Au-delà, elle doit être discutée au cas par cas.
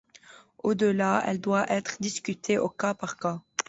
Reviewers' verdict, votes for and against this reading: accepted, 2, 0